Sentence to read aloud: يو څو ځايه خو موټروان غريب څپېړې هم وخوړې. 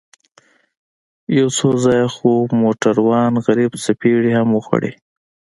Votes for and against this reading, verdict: 2, 0, accepted